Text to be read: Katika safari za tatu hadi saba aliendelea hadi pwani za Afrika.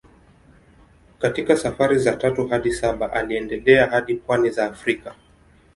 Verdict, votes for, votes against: accepted, 2, 0